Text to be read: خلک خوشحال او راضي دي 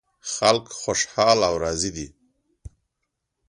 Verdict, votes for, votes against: accepted, 2, 0